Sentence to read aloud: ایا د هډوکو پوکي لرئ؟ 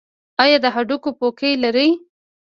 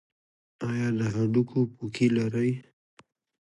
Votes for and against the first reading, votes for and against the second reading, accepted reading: 1, 2, 2, 1, second